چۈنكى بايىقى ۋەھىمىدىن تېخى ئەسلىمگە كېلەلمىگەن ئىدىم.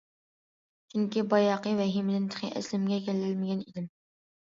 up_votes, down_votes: 1, 2